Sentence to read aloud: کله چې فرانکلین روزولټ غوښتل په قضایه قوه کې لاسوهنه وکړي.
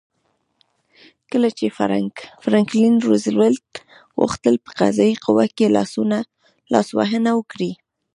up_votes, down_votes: 1, 2